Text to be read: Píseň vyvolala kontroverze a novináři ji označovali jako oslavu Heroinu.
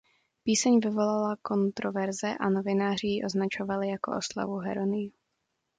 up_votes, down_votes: 0, 2